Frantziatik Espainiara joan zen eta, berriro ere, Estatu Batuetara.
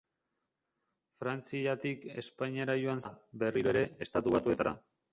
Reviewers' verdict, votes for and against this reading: rejected, 0, 2